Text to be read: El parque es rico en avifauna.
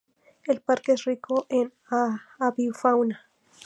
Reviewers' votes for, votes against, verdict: 2, 4, rejected